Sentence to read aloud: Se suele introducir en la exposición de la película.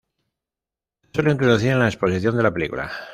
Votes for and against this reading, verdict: 1, 2, rejected